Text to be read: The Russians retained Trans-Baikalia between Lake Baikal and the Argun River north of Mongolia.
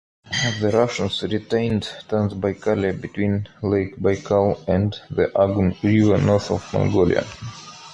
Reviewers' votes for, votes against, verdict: 2, 1, accepted